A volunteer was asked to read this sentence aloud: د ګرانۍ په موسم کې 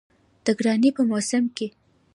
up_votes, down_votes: 2, 0